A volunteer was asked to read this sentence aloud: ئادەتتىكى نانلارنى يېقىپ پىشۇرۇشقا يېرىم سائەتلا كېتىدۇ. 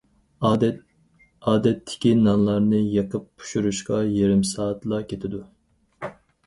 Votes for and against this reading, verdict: 2, 4, rejected